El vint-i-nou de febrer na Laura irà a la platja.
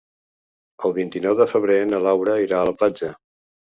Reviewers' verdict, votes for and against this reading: accepted, 3, 0